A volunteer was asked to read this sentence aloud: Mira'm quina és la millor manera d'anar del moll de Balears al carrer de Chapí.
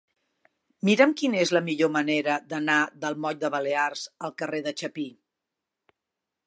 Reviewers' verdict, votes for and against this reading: accepted, 3, 0